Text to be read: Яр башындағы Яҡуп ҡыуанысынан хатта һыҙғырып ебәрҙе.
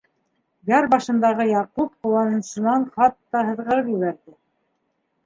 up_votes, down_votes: 2, 0